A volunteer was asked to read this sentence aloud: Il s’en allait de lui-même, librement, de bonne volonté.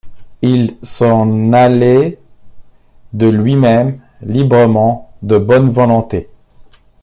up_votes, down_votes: 2, 0